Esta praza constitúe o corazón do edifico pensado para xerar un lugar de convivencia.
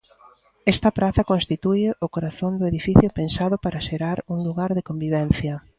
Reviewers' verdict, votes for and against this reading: rejected, 1, 2